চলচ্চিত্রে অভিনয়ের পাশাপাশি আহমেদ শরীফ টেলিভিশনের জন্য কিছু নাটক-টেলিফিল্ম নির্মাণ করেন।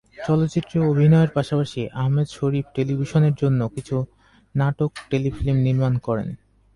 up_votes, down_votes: 2, 0